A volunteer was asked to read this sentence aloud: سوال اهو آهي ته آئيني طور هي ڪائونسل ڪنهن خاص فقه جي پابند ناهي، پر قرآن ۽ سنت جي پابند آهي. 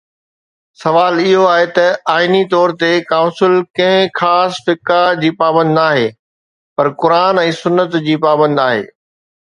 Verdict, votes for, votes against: accepted, 2, 0